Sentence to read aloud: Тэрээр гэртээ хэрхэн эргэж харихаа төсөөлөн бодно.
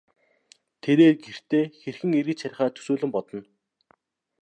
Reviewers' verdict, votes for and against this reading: accepted, 2, 0